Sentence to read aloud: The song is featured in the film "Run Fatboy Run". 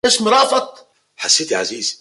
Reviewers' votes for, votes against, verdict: 0, 2, rejected